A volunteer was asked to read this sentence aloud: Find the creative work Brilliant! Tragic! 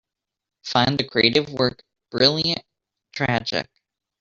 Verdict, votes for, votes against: accepted, 2, 1